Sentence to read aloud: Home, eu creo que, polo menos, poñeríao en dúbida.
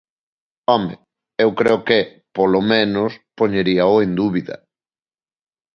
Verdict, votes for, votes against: accepted, 2, 0